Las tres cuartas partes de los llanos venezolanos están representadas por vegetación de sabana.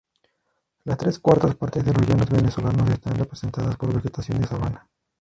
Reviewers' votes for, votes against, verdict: 0, 2, rejected